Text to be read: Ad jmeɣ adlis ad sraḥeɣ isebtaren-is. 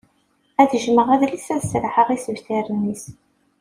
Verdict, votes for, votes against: accepted, 2, 0